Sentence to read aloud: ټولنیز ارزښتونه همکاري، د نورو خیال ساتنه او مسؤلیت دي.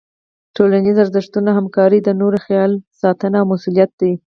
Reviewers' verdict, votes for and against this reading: accepted, 4, 0